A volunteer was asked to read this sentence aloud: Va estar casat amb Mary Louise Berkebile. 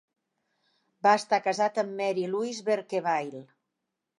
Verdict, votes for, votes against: accepted, 3, 0